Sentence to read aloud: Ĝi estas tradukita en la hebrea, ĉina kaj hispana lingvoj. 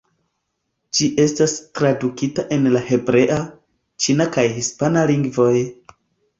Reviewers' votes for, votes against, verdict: 2, 0, accepted